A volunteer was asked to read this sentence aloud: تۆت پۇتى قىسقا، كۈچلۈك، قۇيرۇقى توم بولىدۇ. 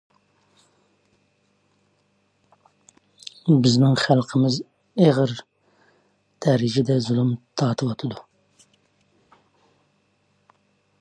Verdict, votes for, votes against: rejected, 0, 2